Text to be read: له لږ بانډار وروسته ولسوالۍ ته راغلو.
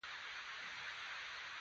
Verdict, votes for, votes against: rejected, 1, 2